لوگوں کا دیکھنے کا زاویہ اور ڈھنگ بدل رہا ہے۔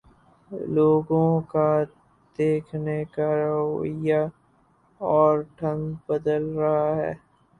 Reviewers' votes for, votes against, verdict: 0, 4, rejected